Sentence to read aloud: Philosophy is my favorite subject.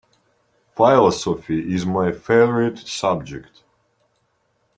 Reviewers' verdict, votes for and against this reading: rejected, 1, 3